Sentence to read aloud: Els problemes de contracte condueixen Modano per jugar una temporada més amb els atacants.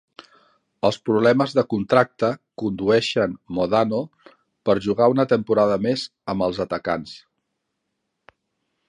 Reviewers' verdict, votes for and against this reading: accepted, 3, 0